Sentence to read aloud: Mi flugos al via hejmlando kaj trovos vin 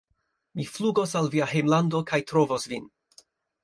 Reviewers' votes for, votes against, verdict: 2, 0, accepted